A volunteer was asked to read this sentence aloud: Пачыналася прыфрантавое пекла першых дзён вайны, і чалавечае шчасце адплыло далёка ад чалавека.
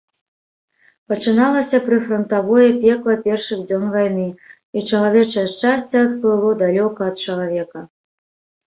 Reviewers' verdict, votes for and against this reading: accepted, 2, 0